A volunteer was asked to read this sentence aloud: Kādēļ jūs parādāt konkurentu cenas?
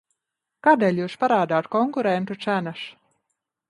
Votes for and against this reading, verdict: 3, 1, accepted